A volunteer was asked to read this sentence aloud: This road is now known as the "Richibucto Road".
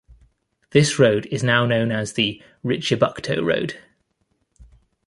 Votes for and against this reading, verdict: 2, 0, accepted